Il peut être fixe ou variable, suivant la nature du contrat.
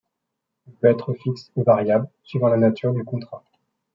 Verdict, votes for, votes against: accepted, 2, 0